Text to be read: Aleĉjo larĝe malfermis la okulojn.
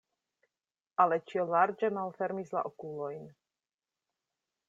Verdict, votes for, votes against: accepted, 2, 0